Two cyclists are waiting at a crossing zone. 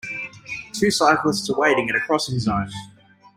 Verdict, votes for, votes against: rejected, 1, 2